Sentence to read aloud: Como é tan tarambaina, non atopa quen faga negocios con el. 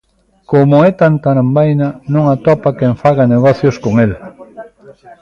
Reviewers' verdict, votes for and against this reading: accepted, 2, 0